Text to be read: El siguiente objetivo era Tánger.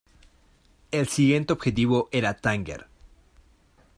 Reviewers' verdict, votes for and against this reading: accepted, 2, 0